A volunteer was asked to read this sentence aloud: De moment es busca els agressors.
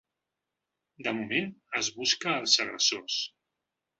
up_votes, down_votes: 2, 0